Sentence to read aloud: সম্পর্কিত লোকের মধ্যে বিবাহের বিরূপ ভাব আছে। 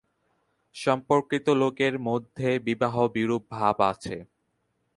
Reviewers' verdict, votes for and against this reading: rejected, 0, 2